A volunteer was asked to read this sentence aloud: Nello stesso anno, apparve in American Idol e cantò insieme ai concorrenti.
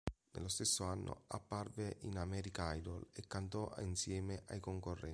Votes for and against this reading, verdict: 1, 2, rejected